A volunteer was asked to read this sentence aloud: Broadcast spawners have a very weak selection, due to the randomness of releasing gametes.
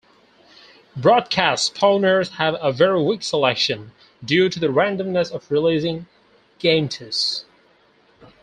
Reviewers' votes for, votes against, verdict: 0, 4, rejected